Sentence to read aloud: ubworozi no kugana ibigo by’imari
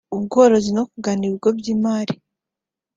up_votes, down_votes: 2, 0